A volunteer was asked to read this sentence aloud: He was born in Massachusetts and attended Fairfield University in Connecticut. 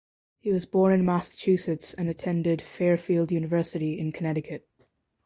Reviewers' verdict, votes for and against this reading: accepted, 2, 0